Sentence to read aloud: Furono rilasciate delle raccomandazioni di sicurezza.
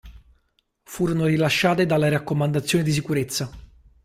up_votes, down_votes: 1, 2